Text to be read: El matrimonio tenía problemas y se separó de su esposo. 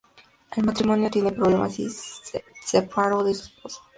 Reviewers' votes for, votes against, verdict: 0, 2, rejected